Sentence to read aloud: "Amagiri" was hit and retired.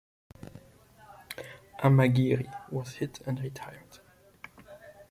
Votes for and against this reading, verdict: 2, 0, accepted